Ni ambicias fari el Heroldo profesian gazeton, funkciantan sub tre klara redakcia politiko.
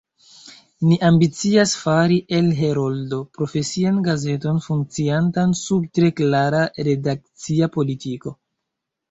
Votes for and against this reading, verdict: 1, 2, rejected